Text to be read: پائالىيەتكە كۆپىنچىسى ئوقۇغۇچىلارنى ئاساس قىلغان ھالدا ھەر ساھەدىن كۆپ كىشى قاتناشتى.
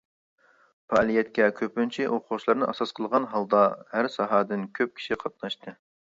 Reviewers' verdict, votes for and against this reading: rejected, 1, 2